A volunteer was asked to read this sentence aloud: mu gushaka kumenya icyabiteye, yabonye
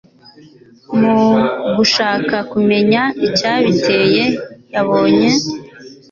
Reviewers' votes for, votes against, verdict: 2, 0, accepted